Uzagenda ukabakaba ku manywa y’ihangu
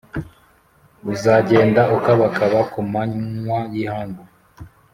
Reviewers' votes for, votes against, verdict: 2, 0, accepted